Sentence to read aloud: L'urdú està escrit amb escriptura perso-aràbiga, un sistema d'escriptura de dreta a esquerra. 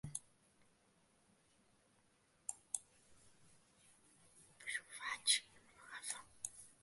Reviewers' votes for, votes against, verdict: 0, 2, rejected